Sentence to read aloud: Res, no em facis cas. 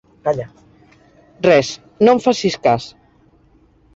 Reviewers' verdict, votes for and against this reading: rejected, 1, 2